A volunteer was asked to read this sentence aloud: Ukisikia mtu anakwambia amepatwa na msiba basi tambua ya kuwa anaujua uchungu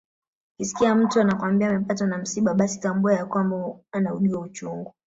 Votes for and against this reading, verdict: 0, 2, rejected